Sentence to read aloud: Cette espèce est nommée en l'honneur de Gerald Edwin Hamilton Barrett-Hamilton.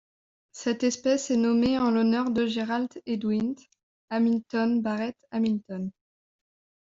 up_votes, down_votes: 0, 2